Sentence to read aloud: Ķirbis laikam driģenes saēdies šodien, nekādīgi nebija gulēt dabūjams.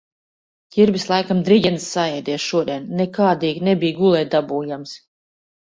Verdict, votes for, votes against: accepted, 2, 0